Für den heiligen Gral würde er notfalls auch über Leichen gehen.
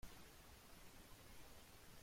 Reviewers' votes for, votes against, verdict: 0, 2, rejected